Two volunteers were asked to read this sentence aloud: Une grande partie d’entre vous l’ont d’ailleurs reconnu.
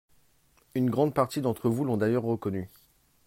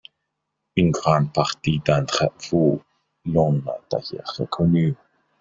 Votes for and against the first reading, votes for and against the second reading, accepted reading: 2, 0, 1, 2, first